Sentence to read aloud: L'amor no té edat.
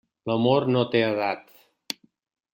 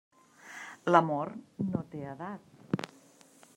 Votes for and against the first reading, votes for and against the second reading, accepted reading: 2, 0, 0, 2, first